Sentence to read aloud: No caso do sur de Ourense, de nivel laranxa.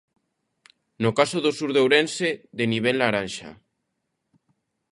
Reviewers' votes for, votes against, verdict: 2, 0, accepted